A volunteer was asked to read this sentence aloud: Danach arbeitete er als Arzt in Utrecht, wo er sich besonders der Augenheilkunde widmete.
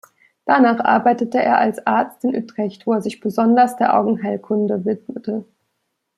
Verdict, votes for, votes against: accepted, 2, 0